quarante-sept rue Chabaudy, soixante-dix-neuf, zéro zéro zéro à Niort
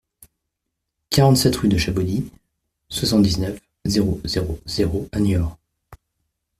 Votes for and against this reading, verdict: 2, 1, accepted